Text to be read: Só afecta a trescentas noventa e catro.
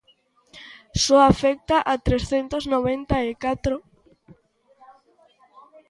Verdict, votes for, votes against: accepted, 2, 0